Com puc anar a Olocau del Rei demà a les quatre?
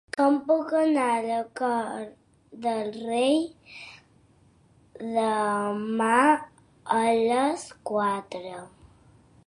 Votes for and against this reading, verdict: 0, 2, rejected